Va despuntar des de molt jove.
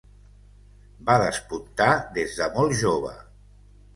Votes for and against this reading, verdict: 2, 0, accepted